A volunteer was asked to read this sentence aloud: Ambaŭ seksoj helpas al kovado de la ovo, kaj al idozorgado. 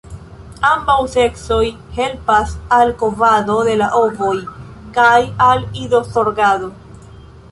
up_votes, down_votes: 0, 2